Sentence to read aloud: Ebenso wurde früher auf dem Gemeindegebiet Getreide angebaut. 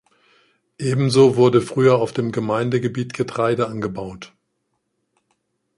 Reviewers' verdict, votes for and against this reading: accepted, 2, 0